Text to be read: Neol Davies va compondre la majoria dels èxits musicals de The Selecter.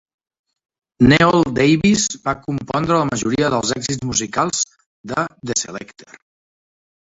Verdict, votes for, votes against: accepted, 2, 0